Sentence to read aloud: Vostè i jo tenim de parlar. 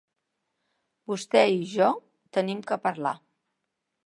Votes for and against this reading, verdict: 0, 2, rejected